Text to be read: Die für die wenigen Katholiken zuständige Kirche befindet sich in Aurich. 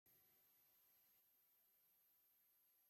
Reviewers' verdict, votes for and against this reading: rejected, 0, 2